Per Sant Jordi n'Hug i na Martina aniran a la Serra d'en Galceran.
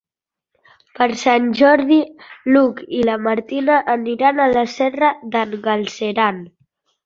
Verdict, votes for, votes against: accepted, 3, 1